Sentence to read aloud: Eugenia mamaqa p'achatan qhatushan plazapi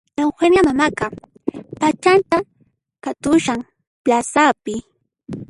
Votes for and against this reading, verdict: 0, 2, rejected